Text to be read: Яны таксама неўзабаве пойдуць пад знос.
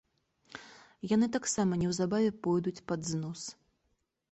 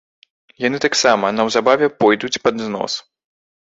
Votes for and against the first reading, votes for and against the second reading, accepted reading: 2, 0, 1, 2, first